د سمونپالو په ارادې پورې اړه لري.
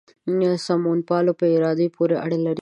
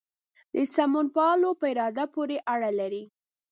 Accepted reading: first